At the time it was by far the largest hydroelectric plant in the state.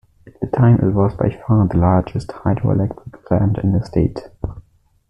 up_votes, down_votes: 1, 2